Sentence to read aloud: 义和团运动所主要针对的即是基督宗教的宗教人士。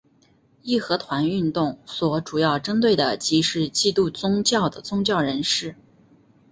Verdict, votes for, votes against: accepted, 2, 1